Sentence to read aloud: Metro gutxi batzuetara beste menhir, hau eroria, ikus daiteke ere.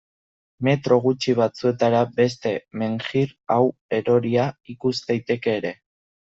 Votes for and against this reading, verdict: 0, 2, rejected